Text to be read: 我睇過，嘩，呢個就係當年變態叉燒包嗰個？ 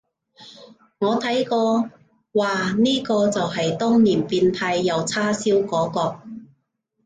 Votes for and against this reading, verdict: 0, 2, rejected